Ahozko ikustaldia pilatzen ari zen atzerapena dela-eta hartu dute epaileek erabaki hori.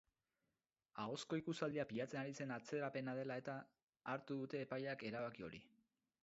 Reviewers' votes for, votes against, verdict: 6, 8, rejected